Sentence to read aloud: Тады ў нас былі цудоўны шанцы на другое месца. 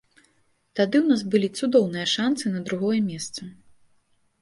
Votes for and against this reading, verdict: 1, 2, rejected